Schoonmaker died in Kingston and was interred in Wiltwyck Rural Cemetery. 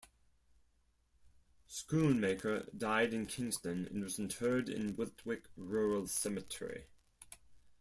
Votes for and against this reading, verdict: 2, 4, rejected